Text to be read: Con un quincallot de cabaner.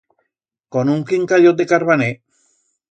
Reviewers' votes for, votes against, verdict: 1, 2, rejected